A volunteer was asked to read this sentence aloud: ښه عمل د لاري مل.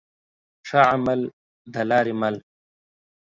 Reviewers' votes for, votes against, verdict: 2, 0, accepted